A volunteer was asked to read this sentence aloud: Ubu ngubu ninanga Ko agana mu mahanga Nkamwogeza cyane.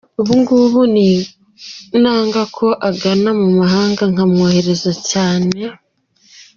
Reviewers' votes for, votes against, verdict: 0, 2, rejected